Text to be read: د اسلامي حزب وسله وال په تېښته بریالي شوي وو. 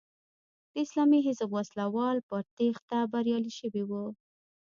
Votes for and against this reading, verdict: 1, 2, rejected